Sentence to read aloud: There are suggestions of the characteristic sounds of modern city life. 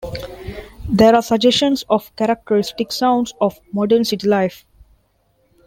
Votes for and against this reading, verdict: 0, 2, rejected